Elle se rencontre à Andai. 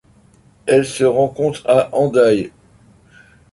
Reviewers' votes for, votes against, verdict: 2, 0, accepted